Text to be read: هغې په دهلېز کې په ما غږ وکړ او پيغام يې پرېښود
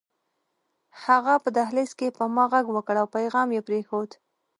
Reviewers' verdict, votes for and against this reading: accepted, 2, 0